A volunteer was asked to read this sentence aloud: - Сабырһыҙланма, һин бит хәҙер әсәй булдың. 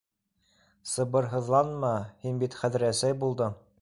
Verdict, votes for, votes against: rejected, 1, 2